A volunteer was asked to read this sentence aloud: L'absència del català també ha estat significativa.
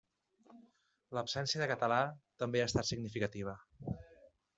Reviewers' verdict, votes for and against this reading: rejected, 0, 2